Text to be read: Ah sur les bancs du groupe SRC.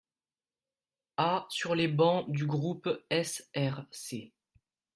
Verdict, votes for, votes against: rejected, 1, 2